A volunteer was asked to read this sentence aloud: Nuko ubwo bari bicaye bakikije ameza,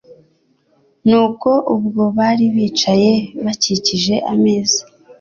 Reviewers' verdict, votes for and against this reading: accepted, 3, 0